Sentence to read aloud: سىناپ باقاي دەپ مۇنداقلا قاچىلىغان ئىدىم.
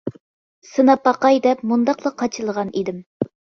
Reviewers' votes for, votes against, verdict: 2, 0, accepted